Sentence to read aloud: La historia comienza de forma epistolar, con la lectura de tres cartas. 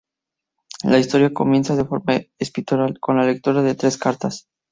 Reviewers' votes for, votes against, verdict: 0, 4, rejected